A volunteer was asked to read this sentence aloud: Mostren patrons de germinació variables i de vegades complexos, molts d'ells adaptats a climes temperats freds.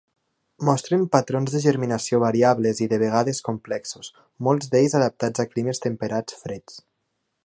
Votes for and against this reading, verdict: 4, 1, accepted